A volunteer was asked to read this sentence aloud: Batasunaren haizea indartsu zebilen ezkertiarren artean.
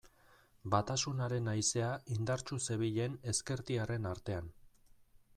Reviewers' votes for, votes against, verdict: 2, 0, accepted